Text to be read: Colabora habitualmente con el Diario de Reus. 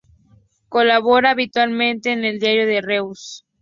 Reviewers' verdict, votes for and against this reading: accepted, 4, 2